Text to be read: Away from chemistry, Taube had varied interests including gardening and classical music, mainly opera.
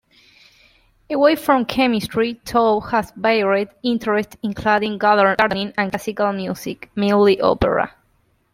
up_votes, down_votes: 1, 2